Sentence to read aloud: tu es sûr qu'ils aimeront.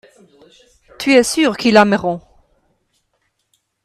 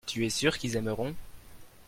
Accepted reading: second